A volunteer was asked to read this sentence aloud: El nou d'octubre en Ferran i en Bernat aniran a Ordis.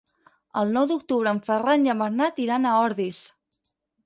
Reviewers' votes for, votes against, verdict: 2, 6, rejected